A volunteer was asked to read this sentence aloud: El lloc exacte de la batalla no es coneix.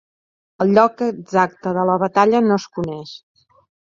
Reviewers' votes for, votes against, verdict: 5, 0, accepted